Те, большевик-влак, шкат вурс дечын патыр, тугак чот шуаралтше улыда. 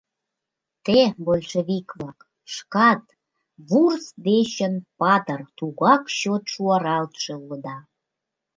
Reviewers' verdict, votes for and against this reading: accepted, 2, 0